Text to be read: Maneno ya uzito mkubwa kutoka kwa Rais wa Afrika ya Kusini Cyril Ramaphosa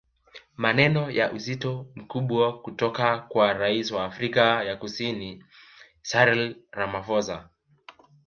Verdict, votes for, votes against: rejected, 1, 2